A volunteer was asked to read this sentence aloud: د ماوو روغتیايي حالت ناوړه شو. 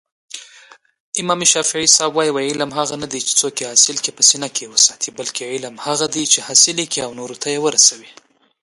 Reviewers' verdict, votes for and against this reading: rejected, 1, 2